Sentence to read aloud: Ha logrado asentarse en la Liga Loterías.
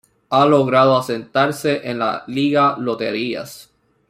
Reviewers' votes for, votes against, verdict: 2, 1, accepted